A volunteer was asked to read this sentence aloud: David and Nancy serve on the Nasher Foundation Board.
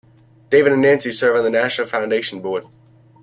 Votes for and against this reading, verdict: 2, 0, accepted